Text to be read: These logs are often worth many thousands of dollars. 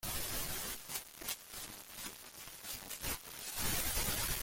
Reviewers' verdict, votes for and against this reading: rejected, 0, 2